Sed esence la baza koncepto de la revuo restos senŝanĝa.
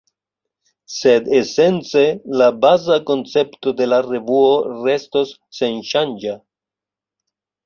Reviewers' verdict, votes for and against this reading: accepted, 2, 0